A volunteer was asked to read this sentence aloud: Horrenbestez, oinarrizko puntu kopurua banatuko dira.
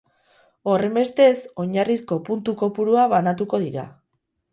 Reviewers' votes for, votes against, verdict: 4, 0, accepted